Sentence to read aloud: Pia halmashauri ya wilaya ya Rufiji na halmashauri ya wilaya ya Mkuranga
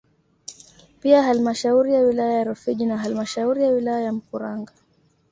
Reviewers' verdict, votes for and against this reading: accepted, 2, 1